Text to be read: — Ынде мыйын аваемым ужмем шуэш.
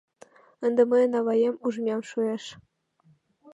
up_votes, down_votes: 1, 2